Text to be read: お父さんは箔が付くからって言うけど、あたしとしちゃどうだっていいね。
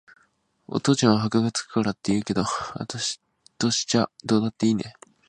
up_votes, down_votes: 0, 2